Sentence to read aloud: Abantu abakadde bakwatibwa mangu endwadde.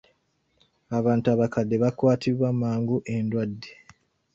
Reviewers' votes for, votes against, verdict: 2, 1, accepted